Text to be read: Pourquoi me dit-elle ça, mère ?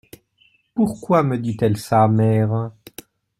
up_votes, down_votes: 2, 0